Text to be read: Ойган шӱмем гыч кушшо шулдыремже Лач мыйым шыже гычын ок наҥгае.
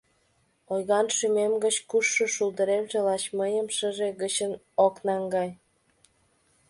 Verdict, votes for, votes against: rejected, 1, 2